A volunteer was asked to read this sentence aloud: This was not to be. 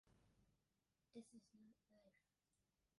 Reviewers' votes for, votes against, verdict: 0, 2, rejected